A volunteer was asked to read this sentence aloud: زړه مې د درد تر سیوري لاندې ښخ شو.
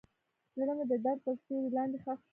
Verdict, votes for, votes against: rejected, 0, 2